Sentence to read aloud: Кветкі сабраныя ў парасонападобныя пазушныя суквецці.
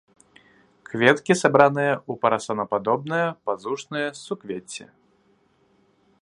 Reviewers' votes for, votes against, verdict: 1, 2, rejected